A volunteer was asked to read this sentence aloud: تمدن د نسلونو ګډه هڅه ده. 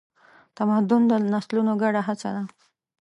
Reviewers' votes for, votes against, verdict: 3, 0, accepted